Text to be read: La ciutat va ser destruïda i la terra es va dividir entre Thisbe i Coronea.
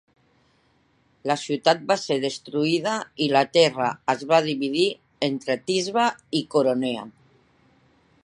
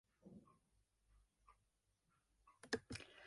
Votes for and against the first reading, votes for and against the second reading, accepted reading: 2, 1, 0, 2, first